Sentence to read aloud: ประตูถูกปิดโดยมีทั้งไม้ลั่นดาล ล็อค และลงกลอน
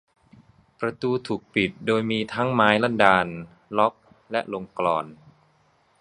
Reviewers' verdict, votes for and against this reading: accepted, 2, 0